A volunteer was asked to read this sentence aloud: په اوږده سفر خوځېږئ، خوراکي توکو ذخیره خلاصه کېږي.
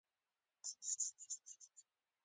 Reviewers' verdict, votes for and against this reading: accepted, 2, 1